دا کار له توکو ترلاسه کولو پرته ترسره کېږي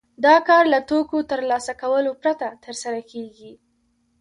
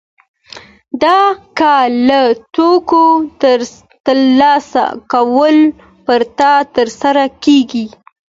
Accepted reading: first